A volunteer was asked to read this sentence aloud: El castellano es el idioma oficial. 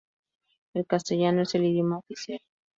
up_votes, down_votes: 2, 2